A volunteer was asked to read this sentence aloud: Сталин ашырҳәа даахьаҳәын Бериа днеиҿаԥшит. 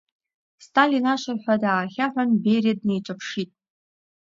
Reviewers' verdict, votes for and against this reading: accepted, 2, 0